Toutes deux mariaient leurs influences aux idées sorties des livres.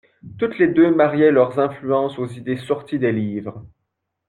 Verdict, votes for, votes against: accepted, 2, 1